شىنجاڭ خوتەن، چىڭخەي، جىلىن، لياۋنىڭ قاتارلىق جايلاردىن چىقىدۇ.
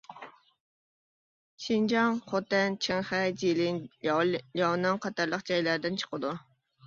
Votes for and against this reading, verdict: 0, 2, rejected